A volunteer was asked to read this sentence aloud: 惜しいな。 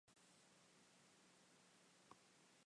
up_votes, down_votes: 0, 2